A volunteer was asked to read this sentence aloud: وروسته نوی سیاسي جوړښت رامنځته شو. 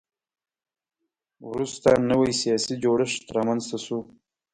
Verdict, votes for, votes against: accepted, 2, 0